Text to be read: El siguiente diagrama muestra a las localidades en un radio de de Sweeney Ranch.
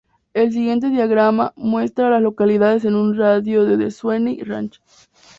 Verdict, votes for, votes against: rejected, 0, 2